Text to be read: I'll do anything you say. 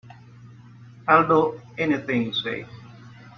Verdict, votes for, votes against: accepted, 2, 1